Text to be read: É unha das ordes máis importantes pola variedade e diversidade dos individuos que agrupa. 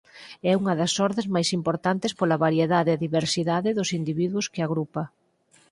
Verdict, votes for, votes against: accepted, 4, 0